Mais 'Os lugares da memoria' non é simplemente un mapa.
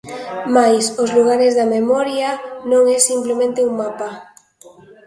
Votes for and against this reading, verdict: 2, 0, accepted